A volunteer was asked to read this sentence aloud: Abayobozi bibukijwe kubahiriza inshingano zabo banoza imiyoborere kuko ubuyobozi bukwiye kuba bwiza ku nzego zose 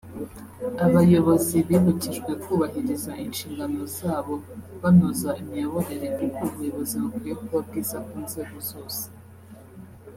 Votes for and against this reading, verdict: 0, 2, rejected